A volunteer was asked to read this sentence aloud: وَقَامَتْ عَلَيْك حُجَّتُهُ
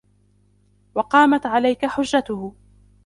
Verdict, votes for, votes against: rejected, 0, 2